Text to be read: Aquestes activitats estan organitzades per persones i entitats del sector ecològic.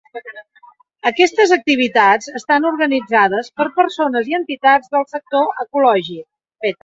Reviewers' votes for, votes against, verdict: 0, 2, rejected